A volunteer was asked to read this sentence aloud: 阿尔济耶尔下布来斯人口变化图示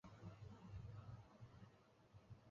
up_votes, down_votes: 0, 2